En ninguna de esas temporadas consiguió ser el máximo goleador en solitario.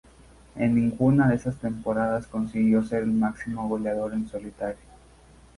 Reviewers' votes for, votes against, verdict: 4, 0, accepted